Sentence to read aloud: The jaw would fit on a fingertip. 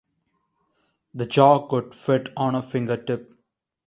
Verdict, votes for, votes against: rejected, 0, 2